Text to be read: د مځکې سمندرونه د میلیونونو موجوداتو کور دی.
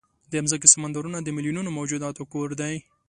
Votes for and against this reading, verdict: 2, 0, accepted